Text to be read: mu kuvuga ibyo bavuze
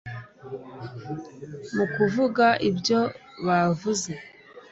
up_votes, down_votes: 2, 0